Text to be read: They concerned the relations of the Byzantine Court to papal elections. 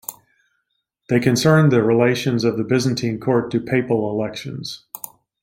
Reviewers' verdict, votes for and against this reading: accepted, 2, 0